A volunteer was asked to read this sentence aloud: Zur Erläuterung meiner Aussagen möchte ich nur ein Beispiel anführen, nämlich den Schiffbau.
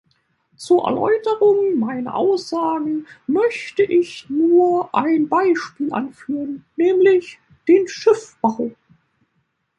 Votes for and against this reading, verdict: 2, 1, accepted